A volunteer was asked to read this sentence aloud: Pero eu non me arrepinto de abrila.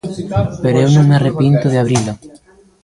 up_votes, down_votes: 1, 2